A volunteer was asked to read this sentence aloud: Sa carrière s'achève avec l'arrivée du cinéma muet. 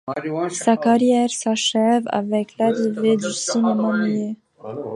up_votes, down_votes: 0, 2